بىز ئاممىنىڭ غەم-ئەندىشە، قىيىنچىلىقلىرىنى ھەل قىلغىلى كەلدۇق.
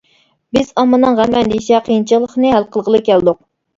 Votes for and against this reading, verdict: 0, 2, rejected